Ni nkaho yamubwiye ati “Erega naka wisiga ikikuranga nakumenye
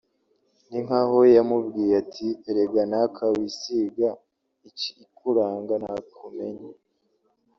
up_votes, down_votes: 2, 0